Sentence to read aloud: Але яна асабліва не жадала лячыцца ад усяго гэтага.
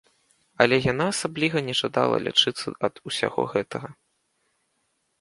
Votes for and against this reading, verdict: 1, 2, rejected